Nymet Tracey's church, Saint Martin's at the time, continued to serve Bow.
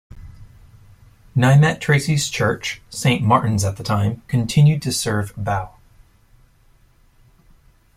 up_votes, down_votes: 2, 0